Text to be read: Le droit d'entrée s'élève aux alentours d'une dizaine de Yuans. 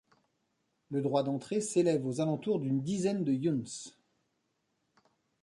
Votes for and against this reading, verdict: 0, 2, rejected